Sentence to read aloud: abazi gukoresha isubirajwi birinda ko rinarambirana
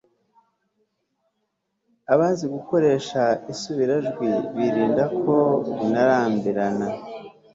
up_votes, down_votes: 3, 0